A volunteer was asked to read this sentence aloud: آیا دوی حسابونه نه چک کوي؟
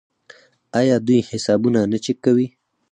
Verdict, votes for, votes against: accepted, 4, 0